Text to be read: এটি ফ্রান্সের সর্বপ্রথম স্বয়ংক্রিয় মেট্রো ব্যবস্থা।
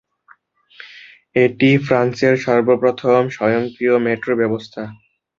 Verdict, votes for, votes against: accepted, 5, 0